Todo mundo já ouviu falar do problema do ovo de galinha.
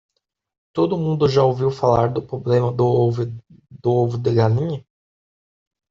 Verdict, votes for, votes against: rejected, 0, 2